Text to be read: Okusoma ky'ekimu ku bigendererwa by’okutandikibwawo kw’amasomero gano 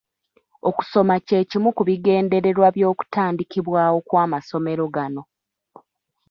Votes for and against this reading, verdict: 0, 2, rejected